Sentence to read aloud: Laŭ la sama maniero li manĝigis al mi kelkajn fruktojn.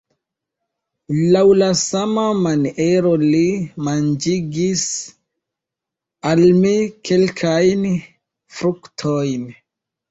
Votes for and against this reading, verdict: 1, 2, rejected